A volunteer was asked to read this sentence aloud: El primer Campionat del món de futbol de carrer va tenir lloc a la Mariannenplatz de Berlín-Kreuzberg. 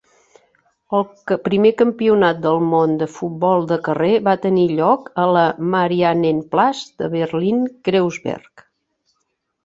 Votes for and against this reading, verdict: 1, 2, rejected